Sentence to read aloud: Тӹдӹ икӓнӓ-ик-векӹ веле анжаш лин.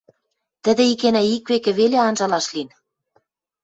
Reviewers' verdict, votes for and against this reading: rejected, 1, 2